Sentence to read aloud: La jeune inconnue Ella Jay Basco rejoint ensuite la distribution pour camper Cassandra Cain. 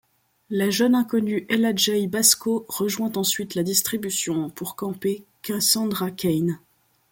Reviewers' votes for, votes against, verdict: 2, 0, accepted